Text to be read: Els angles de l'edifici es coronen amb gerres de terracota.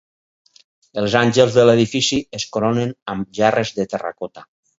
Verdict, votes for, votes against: rejected, 2, 2